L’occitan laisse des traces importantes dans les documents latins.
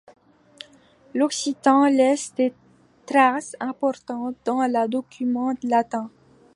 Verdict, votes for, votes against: accepted, 2, 0